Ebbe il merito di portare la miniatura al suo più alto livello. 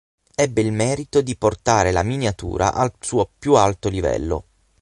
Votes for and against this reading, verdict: 0, 6, rejected